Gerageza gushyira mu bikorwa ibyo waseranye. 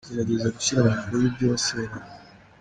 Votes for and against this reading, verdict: 3, 1, accepted